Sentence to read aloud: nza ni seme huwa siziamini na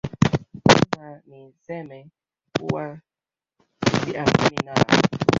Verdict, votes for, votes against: rejected, 0, 2